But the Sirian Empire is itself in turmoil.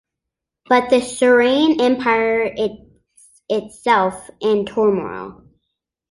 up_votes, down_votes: 1, 2